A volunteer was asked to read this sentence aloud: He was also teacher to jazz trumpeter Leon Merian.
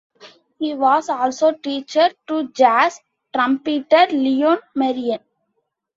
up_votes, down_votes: 2, 0